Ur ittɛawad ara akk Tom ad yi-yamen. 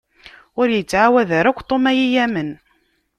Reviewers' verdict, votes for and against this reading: accepted, 2, 0